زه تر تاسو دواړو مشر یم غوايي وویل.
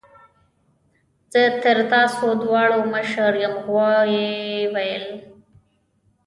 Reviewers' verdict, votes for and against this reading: accepted, 2, 0